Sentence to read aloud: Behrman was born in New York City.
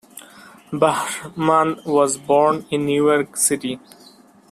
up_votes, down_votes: 1, 2